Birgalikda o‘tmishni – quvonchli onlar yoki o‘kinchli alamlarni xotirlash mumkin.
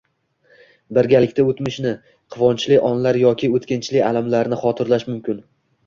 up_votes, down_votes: 1, 2